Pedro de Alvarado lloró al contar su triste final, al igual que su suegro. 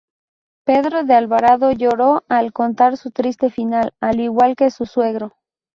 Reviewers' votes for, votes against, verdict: 2, 0, accepted